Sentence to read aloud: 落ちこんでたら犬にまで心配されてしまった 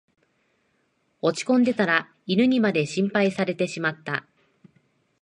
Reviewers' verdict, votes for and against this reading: accepted, 2, 0